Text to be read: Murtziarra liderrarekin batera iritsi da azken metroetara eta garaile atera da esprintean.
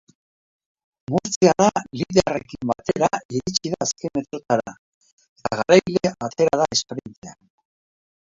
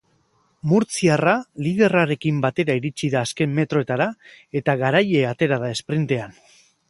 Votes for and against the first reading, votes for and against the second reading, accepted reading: 0, 2, 2, 0, second